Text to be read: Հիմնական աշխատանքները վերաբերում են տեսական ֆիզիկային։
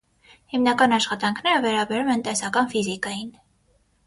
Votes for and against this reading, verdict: 3, 0, accepted